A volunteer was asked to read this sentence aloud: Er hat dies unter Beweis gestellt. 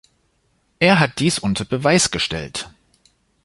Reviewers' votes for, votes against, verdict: 2, 0, accepted